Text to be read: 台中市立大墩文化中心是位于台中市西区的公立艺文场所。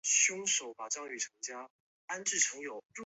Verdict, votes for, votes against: rejected, 2, 6